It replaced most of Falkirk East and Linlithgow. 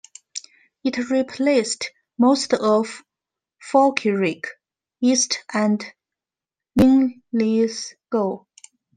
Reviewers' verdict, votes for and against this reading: rejected, 0, 2